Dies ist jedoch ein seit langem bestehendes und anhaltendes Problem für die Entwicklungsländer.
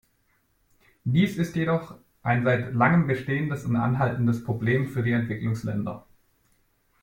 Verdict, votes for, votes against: accepted, 2, 0